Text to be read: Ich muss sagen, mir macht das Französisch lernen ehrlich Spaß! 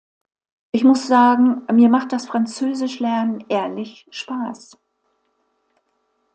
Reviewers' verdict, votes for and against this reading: accepted, 2, 0